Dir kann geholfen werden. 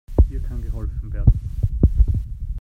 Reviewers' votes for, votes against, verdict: 2, 1, accepted